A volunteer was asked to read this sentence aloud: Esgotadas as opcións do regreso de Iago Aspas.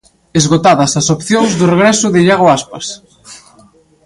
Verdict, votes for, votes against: accepted, 2, 0